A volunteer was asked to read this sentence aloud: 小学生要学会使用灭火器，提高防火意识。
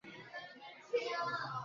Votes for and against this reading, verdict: 1, 2, rejected